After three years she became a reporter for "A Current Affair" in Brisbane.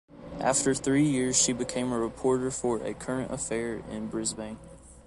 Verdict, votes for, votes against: accepted, 2, 0